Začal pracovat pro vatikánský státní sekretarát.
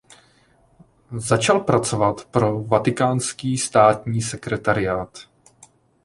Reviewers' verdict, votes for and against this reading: accepted, 2, 0